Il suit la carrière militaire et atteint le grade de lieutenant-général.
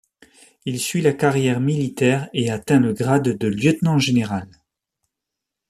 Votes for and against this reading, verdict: 2, 0, accepted